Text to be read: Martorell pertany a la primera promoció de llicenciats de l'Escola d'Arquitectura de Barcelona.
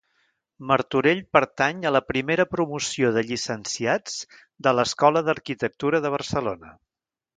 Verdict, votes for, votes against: accepted, 2, 0